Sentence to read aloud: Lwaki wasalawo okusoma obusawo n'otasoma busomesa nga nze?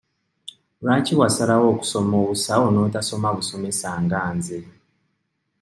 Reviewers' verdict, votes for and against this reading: accepted, 2, 0